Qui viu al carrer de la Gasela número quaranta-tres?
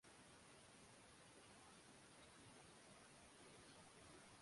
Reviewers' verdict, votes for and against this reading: rejected, 0, 2